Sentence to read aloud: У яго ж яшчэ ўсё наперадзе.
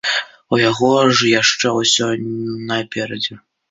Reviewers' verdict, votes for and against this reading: accepted, 2, 0